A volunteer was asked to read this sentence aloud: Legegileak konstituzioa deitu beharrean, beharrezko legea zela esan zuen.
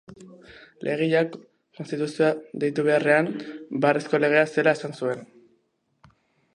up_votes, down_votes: 1, 2